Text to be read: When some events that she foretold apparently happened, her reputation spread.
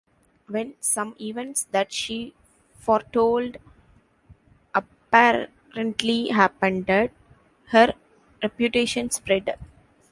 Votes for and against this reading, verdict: 1, 2, rejected